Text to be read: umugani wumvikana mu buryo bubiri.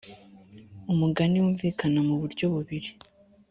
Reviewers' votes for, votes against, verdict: 2, 0, accepted